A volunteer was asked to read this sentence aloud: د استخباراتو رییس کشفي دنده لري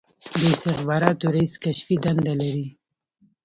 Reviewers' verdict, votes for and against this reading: accepted, 2, 1